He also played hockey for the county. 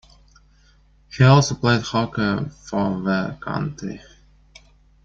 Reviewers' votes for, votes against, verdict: 1, 2, rejected